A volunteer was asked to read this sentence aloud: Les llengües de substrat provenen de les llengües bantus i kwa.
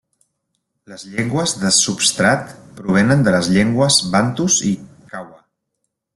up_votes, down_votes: 1, 2